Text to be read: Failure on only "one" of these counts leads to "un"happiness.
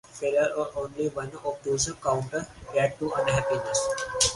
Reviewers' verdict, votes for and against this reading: rejected, 2, 4